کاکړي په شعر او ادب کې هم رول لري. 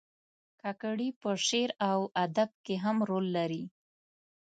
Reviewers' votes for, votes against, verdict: 3, 0, accepted